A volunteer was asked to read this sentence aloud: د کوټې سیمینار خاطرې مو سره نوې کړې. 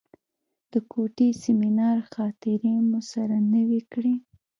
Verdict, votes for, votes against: rejected, 1, 2